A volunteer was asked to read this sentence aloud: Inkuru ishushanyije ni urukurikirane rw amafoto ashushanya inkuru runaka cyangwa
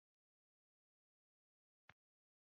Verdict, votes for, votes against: rejected, 0, 2